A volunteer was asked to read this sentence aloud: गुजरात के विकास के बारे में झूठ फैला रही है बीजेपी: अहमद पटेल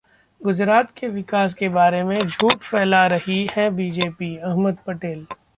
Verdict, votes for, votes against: accepted, 2, 0